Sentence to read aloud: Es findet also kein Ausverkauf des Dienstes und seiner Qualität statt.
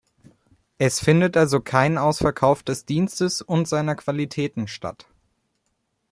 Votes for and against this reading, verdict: 1, 2, rejected